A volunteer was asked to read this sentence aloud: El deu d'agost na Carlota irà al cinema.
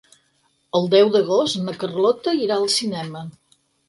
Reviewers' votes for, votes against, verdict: 6, 0, accepted